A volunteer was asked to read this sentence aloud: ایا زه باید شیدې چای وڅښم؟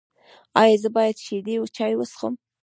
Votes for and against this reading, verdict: 1, 2, rejected